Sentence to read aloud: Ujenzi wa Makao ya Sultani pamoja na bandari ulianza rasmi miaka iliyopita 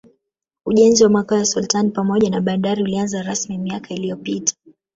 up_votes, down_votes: 2, 0